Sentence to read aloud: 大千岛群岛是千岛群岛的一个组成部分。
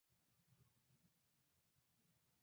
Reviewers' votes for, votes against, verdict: 0, 3, rejected